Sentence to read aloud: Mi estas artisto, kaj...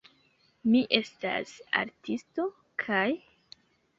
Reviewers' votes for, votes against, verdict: 2, 1, accepted